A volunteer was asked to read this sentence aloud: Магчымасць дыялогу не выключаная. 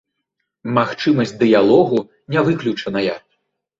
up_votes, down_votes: 2, 0